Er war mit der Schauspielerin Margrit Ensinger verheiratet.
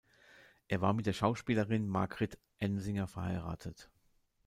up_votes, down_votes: 2, 0